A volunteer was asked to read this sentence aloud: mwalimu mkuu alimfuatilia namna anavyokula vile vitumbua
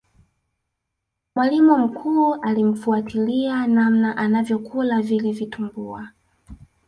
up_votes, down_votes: 1, 2